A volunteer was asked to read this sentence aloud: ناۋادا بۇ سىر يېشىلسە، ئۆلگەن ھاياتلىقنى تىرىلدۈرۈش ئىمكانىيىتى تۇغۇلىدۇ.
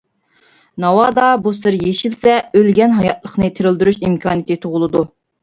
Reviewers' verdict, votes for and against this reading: accepted, 2, 0